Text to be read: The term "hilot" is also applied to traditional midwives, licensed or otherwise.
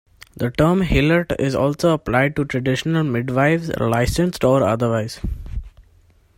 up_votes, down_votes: 2, 1